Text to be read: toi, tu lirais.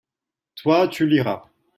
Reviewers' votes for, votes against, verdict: 0, 2, rejected